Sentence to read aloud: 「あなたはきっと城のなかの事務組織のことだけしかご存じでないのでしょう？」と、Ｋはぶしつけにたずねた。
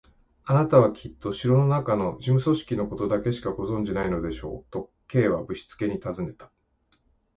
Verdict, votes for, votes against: rejected, 0, 2